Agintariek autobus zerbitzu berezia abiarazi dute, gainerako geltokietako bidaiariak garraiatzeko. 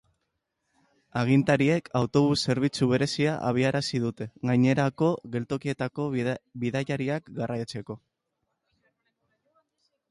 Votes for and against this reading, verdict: 0, 2, rejected